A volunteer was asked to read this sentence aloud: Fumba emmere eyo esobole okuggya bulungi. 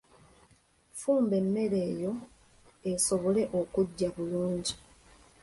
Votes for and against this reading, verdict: 0, 2, rejected